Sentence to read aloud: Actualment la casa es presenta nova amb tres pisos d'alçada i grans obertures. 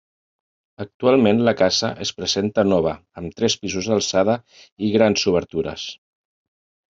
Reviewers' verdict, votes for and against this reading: rejected, 1, 2